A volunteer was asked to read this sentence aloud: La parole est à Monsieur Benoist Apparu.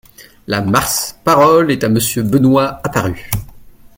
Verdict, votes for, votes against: rejected, 0, 2